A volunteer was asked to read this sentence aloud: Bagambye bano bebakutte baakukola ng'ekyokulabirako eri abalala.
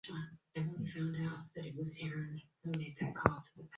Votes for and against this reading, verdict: 1, 2, rejected